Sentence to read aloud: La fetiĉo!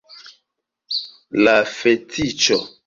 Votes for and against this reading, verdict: 2, 1, accepted